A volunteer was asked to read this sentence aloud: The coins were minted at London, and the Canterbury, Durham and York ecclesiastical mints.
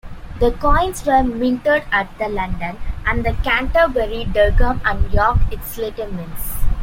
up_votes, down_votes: 0, 2